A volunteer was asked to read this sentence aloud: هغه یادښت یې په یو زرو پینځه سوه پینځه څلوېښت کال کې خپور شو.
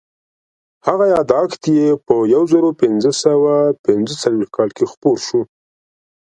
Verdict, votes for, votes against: accepted, 2, 0